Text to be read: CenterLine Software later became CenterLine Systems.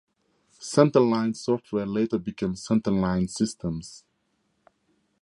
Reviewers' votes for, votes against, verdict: 2, 0, accepted